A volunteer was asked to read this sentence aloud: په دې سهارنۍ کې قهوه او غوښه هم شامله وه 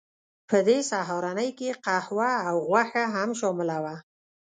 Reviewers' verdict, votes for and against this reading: rejected, 1, 2